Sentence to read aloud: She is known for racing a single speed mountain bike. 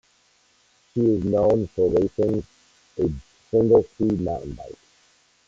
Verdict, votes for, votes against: rejected, 0, 2